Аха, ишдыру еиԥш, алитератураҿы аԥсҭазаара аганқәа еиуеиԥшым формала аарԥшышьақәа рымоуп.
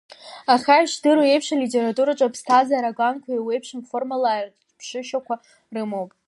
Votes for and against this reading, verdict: 0, 2, rejected